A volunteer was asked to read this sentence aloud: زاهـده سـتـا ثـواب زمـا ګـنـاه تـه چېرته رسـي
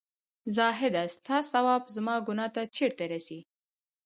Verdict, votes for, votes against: accepted, 2, 0